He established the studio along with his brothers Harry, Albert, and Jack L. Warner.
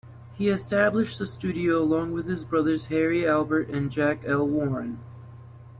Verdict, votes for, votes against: accepted, 2, 0